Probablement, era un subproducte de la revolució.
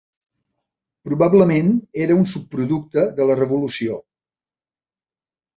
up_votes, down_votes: 3, 0